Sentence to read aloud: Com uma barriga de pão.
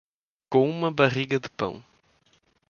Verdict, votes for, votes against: accepted, 2, 0